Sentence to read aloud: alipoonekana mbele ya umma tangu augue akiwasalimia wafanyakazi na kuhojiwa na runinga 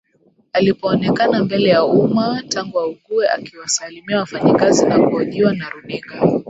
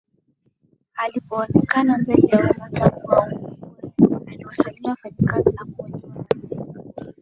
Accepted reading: first